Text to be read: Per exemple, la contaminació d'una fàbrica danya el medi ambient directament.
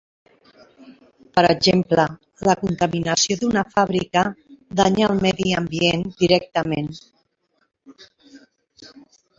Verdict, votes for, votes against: accepted, 3, 1